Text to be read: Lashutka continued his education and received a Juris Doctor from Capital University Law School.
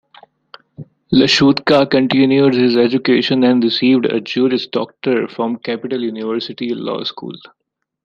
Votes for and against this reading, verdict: 2, 1, accepted